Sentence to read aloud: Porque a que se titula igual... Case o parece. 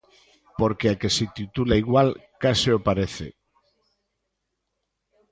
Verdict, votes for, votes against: accepted, 2, 0